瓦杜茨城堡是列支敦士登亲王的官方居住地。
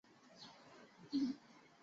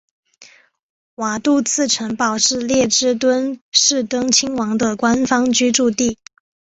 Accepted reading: second